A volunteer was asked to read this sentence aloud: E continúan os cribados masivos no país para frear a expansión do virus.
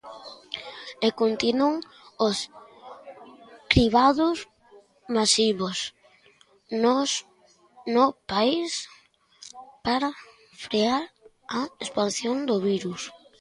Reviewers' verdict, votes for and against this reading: rejected, 0, 2